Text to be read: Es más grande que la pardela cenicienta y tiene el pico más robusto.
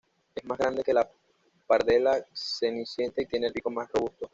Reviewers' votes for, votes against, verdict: 1, 2, rejected